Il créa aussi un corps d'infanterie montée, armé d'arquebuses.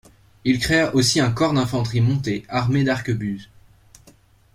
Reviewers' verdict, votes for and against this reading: accepted, 2, 0